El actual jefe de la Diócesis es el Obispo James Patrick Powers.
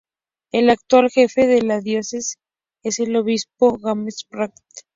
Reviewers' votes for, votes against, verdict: 0, 2, rejected